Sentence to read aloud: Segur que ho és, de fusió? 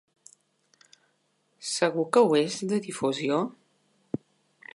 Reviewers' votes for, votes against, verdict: 0, 2, rejected